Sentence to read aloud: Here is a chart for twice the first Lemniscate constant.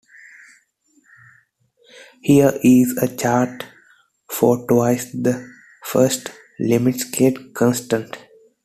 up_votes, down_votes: 0, 2